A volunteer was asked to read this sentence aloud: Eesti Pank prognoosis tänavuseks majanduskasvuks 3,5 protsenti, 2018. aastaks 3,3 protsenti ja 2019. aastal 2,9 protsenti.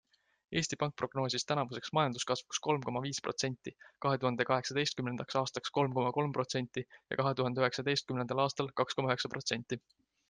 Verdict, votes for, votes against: rejected, 0, 2